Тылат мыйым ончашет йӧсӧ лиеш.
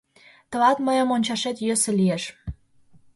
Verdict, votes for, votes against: accepted, 2, 0